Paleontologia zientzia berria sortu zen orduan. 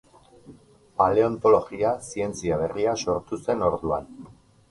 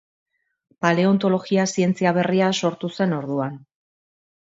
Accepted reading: second